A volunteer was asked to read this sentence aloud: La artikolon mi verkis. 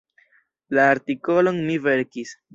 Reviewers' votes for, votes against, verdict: 2, 0, accepted